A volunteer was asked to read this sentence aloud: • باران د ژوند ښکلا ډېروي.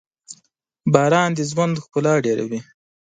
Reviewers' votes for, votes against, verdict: 2, 0, accepted